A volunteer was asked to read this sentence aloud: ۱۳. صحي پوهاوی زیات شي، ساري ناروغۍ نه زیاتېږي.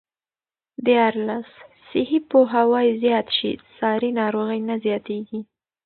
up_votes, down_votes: 0, 2